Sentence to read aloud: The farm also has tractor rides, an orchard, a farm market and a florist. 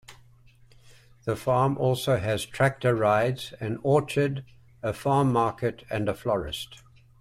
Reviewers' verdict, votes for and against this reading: accepted, 2, 0